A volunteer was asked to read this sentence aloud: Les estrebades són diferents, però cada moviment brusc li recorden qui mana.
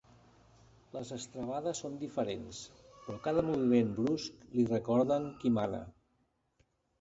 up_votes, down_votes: 1, 2